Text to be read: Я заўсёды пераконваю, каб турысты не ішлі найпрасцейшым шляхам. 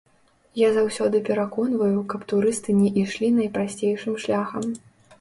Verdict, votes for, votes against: rejected, 0, 3